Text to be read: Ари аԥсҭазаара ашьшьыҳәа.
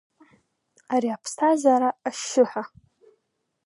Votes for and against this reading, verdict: 2, 0, accepted